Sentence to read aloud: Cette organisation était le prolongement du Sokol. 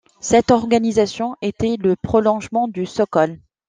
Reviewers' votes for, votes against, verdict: 2, 0, accepted